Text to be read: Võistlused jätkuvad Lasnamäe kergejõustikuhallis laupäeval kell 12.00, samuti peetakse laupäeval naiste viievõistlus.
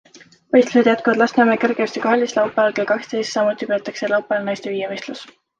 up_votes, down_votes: 0, 2